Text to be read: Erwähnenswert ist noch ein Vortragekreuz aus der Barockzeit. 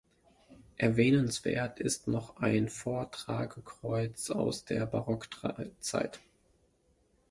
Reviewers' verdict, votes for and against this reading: rejected, 0, 2